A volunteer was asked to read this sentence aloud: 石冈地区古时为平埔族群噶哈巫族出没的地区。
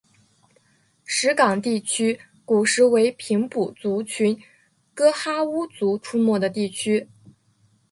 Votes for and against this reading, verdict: 3, 0, accepted